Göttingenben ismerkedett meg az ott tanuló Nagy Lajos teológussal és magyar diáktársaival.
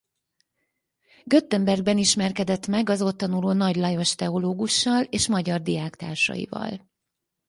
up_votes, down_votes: 2, 4